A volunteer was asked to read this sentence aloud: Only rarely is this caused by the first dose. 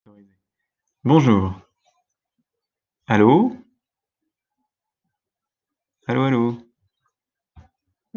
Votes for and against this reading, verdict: 0, 2, rejected